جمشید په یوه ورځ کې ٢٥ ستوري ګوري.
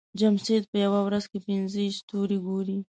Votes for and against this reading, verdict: 0, 2, rejected